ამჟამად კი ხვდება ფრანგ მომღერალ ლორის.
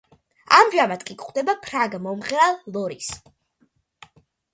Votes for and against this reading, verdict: 2, 0, accepted